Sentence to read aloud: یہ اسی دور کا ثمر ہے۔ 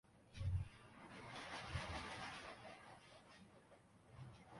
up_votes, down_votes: 0, 2